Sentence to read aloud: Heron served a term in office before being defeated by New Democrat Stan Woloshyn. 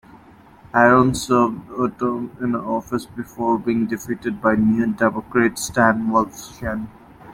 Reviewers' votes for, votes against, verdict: 0, 2, rejected